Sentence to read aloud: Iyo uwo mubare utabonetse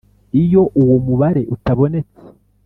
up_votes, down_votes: 3, 0